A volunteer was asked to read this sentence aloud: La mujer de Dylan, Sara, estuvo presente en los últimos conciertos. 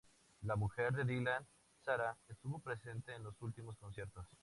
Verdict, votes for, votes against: accepted, 2, 0